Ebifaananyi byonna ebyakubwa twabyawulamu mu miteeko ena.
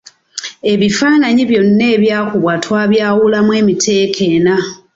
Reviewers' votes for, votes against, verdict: 2, 0, accepted